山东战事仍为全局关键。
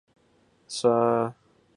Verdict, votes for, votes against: rejected, 0, 2